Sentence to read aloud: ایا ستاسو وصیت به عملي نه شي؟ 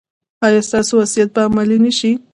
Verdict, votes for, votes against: rejected, 1, 2